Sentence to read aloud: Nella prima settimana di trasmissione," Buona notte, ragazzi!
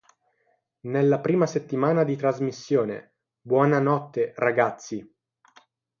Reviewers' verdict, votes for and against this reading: accepted, 3, 0